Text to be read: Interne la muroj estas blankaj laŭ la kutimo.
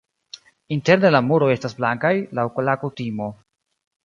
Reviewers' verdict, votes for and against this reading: accepted, 2, 0